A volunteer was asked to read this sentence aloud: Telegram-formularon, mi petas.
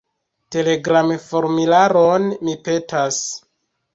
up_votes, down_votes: 1, 2